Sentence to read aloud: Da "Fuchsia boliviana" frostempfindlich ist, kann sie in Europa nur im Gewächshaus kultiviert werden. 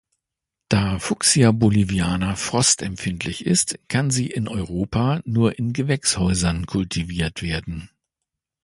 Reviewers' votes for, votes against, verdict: 0, 2, rejected